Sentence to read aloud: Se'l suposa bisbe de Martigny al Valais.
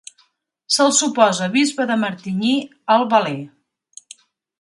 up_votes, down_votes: 2, 0